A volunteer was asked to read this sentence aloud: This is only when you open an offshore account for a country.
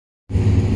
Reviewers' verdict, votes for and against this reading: rejected, 0, 2